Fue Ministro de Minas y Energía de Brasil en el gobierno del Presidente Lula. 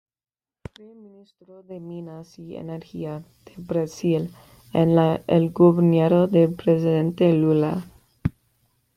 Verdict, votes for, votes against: rejected, 0, 2